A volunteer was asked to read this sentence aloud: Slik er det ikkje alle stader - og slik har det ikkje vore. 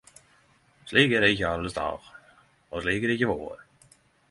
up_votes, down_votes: 10, 0